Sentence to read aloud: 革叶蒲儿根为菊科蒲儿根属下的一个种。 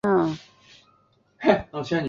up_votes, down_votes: 0, 3